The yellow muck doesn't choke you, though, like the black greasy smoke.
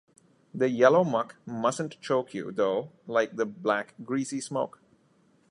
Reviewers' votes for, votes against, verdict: 0, 2, rejected